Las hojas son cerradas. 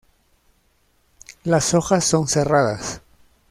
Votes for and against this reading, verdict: 2, 1, accepted